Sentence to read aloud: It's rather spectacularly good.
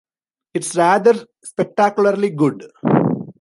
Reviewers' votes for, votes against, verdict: 2, 0, accepted